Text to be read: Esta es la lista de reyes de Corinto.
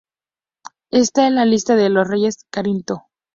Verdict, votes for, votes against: accepted, 2, 0